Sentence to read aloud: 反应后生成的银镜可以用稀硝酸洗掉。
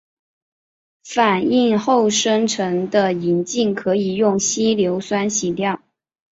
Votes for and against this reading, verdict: 0, 3, rejected